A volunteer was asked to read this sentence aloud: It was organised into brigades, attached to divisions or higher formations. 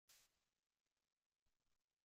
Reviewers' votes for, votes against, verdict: 0, 2, rejected